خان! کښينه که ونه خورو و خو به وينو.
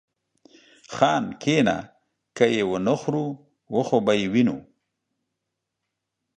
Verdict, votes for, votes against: rejected, 1, 2